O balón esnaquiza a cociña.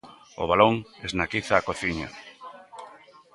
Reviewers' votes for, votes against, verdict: 3, 0, accepted